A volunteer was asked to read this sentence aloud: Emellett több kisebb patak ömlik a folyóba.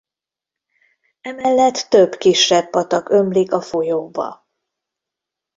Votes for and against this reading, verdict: 2, 0, accepted